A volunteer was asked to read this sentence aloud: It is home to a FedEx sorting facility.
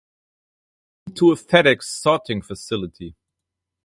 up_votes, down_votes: 0, 2